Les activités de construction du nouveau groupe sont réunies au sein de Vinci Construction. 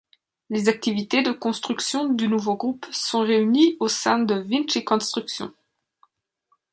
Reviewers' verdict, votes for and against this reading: rejected, 1, 2